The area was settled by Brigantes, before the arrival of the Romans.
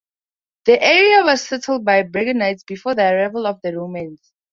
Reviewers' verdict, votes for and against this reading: rejected, 2, 2